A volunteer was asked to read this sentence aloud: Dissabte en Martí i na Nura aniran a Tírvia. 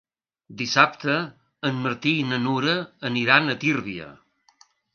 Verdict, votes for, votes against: accepted, 3, 0